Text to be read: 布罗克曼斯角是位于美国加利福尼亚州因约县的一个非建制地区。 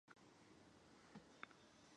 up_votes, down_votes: 0, 2